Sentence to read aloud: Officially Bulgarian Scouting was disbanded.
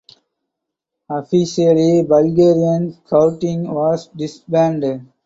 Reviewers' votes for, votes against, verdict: 4, 0, accepted